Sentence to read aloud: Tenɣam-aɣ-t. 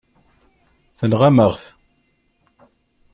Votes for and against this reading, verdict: 2, 0, accepted